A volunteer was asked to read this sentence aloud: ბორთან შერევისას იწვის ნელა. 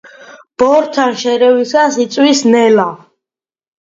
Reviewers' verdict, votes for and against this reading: accepted, 2, 0